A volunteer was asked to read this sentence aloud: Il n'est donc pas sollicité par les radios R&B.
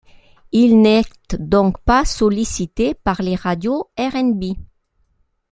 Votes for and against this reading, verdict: 1, 2, rejected